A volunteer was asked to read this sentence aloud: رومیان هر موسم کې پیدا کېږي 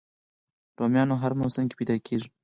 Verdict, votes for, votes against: rejected, 2, 4